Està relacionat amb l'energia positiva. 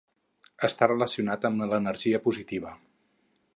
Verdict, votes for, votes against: accepted, 6, 2